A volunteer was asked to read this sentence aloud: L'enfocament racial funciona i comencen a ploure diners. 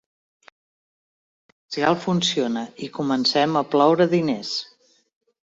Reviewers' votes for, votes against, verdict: 0, 2, rejected